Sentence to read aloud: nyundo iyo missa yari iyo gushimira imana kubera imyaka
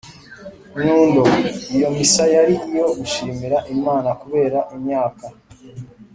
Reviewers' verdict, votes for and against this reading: accepted, 4, 0